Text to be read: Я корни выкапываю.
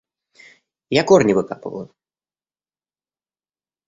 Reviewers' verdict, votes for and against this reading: accepted, 2, 0